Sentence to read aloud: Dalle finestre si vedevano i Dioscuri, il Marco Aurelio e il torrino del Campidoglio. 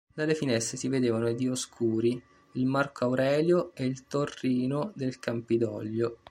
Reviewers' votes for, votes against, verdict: 2, 1, accepted